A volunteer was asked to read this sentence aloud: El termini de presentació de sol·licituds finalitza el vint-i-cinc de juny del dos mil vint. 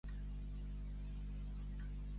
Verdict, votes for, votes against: rejected, 1, 2